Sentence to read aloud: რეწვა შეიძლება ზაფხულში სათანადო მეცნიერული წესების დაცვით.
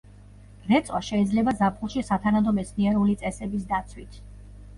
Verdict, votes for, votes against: accepted, 2, 0